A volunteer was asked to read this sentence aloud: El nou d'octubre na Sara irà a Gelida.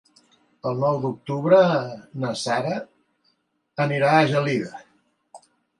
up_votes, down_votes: 0, 2